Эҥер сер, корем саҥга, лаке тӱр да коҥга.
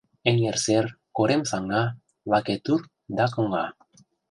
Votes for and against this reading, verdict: 0, 2, rejected